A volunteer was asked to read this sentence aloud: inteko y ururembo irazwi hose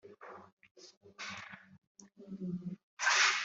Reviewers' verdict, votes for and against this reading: rejected, 1, 2